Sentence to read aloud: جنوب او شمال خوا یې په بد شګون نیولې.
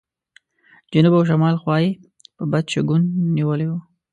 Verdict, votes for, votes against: rejected, 1, 2